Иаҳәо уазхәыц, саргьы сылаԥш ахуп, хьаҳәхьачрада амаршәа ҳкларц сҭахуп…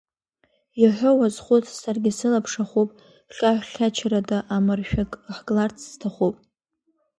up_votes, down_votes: 1, 2